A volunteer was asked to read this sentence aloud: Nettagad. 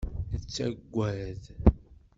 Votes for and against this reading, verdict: 2, 0, accepted